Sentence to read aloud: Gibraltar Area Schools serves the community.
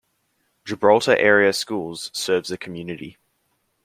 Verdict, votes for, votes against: accepted, 2, 1